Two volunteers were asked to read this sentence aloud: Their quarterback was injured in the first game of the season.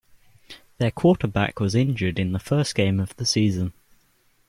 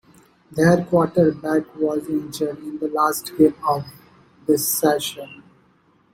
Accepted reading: first